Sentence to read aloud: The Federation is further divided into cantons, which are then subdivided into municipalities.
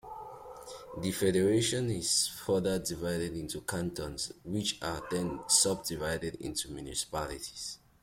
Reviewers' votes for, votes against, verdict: 2, 0, accepted